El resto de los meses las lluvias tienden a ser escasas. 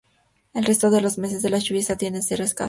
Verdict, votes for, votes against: rejected, 0, 2